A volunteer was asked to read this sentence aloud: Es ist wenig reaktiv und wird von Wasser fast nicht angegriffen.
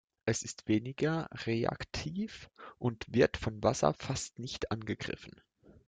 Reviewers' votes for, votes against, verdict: 1, 2, rejected